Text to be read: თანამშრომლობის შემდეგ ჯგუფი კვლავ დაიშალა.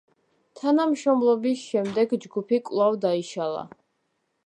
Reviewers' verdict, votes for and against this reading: accepted, 2, 0